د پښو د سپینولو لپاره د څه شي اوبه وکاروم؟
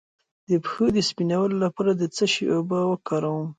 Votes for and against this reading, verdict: 2, 1, accepted